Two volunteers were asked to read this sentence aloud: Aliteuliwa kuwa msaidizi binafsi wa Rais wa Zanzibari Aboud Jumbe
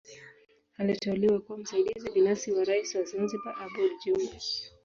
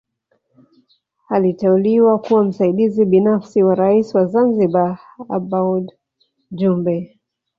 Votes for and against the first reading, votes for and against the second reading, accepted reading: 3, 1, 1, 2, first